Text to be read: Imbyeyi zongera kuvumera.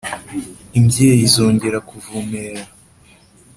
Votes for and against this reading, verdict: 2, 0, accepted